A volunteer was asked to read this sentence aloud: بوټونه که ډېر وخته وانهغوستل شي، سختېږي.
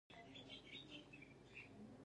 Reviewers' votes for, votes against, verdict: 1, 2, rejected